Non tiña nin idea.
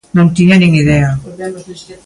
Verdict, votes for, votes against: rejected, 0, 2